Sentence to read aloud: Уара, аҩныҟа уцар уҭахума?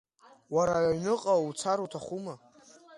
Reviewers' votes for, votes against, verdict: 2, 0, accepted